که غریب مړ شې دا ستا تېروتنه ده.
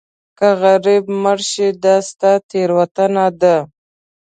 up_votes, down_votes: 2, 0